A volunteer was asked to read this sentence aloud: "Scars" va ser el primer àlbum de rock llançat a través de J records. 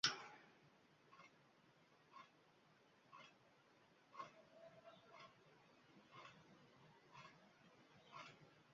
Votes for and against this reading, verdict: 0, 2, rejected